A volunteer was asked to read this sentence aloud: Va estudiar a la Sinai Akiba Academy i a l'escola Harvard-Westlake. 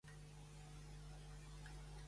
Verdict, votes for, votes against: rejected, 0, 2